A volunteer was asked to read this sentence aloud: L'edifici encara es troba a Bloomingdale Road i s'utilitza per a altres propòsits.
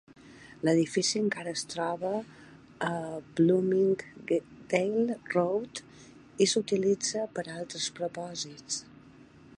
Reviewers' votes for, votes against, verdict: 4, 0, accepted